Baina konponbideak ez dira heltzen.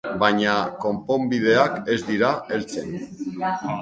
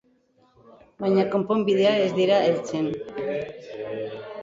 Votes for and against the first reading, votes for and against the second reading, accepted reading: 2, 0, 0, 3, first